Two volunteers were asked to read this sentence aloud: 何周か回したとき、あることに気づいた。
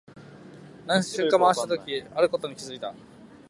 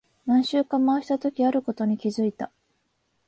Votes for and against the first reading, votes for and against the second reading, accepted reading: 1, 2, 6, 0, second